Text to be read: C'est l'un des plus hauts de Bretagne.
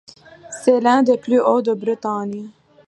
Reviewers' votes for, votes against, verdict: 2, 0, accepted